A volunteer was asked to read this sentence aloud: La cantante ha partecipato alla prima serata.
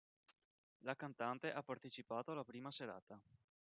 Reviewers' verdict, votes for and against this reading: rejected, 1, 2